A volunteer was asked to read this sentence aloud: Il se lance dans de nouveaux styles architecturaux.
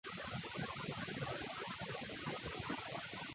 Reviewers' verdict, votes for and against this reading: rejected, 0, 2